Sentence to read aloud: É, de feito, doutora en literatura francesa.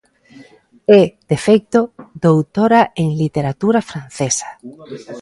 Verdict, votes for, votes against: accepted, 2, 0